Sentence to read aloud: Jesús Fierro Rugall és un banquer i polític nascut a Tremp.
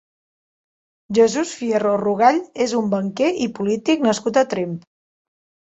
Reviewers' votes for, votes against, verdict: 4, 0, accepted